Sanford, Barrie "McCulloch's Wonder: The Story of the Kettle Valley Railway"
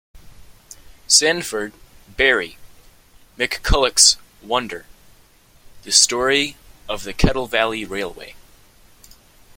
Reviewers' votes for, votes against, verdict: 2, 0, accepted